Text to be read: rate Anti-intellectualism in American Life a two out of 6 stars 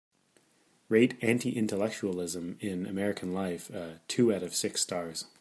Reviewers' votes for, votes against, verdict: 0, 2, rejected